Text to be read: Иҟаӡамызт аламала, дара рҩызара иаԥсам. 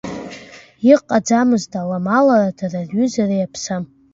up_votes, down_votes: 1, 2